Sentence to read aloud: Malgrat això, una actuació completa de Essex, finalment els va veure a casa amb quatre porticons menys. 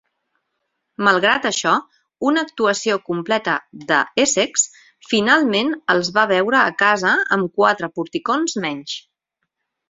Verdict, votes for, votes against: accepted, 6, 0